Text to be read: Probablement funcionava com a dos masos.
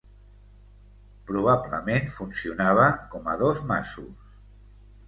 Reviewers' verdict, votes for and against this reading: accepted, 2, 0